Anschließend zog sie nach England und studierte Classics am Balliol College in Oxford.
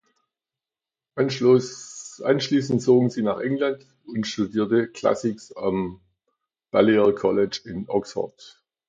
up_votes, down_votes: 1, 2